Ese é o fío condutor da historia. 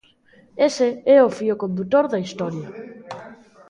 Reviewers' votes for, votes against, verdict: 1, 2, rejected